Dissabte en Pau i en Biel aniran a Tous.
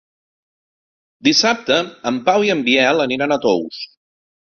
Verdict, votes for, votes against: accepted, 2, 0